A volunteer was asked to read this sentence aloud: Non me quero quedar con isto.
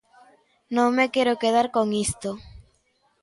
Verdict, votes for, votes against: accepted, 2, 0